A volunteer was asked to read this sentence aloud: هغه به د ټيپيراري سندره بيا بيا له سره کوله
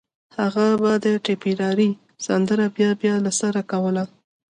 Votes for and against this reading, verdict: 2, 0, accepted